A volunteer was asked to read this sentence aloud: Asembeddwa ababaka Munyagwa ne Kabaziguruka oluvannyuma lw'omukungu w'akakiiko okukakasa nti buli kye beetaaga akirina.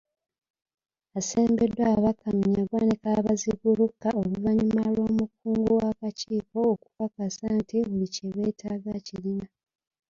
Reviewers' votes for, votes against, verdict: 2, 1, accepted